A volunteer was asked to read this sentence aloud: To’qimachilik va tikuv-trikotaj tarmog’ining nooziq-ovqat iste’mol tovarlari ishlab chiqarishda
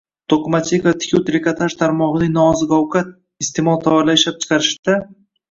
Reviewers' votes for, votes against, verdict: 1, 2, rejected